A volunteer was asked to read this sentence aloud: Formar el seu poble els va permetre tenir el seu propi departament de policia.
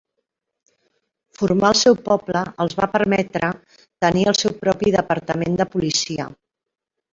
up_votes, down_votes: 3, 0